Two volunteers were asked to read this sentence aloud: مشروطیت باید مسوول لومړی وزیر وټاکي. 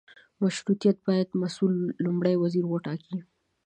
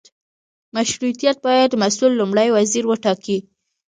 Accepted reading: second